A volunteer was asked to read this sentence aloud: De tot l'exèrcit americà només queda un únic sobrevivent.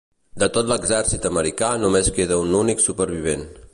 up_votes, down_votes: 0, 2